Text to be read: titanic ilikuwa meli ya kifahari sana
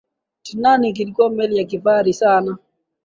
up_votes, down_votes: 6, 2